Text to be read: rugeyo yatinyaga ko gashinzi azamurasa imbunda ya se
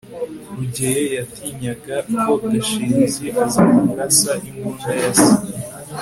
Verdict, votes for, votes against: accepted, 2, 0